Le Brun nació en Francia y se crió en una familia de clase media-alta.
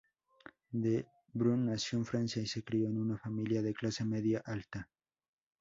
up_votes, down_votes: 2, 0